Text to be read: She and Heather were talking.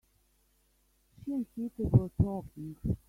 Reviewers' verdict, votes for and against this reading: rejected, 0, 3